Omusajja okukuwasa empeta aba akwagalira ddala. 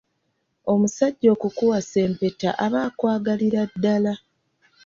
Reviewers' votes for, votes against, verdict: 2, 0, accepted